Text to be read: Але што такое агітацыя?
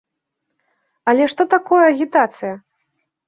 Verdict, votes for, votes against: accepted, 2, 0